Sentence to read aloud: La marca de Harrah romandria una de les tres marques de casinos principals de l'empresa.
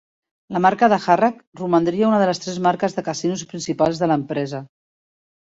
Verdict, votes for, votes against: accepted, 3, 2